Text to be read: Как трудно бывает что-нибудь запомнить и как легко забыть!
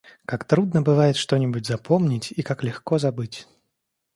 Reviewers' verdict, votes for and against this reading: accepted, 2, 0